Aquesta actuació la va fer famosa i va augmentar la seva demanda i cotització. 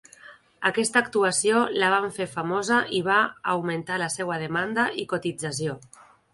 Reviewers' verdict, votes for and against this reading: rejected, 0, 2